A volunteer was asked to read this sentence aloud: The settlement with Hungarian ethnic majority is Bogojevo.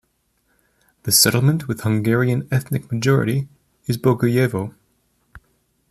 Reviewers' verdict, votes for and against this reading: accepted, 2, 0